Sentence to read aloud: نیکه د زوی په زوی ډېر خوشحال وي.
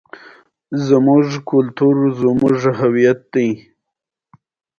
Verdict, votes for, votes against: accepted, 2, 1